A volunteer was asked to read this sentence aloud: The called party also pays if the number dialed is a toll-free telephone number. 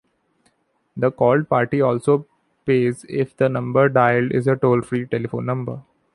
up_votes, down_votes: 2, 0